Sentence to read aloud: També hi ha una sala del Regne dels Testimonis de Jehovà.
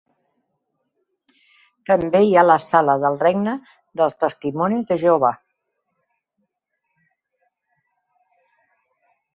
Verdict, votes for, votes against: rejected, 0, 2